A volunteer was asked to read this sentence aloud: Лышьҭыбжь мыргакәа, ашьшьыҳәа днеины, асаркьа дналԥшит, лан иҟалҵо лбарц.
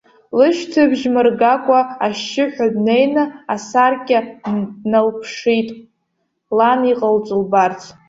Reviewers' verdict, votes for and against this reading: rejected, 0, 2